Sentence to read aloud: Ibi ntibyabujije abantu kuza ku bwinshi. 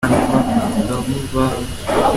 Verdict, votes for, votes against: rejected, 0, 3